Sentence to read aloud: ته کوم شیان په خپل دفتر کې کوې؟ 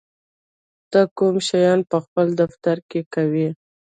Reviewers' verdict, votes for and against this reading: rejected, 0, 2